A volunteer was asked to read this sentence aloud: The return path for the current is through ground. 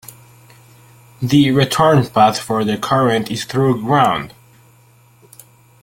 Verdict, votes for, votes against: accepted, 2, 1